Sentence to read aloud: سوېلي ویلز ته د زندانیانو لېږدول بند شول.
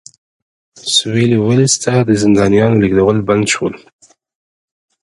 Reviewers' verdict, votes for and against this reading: accepted, 2, 0